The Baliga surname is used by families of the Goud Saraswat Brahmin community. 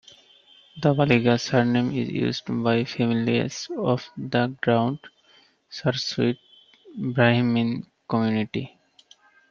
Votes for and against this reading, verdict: 1, 2, rejected